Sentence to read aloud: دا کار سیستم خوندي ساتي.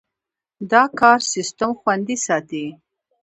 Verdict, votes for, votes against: rejected, 1, 2